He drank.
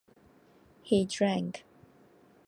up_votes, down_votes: 3, 0